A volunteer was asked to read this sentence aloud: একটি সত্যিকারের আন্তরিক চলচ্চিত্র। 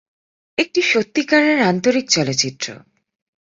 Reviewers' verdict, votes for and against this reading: accepted, 10, 0